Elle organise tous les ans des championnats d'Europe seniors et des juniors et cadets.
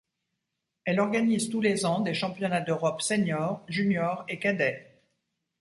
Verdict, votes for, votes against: rejected, 1, 2